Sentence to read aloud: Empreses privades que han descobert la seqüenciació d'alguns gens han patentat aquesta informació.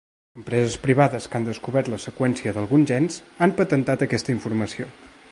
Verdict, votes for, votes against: accepted, 2, 1